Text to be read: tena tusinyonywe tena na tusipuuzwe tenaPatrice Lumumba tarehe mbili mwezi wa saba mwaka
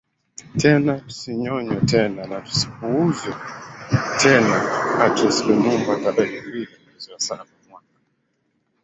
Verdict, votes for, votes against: rejected, 0, 2